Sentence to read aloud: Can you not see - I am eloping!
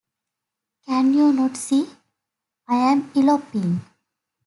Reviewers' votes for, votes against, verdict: 2, 0, accepted